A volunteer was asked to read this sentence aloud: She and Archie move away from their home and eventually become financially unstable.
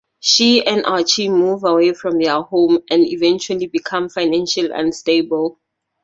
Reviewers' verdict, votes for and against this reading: rejected, 2, 2